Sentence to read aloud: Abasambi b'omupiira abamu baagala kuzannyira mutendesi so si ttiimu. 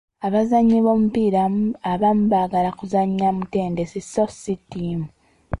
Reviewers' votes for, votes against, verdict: 1, 2, rejected